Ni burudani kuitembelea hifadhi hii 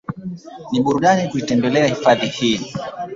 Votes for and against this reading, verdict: 1, 2, rejected